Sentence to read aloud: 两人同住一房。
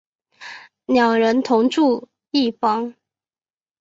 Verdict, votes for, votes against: accepted, 3, 0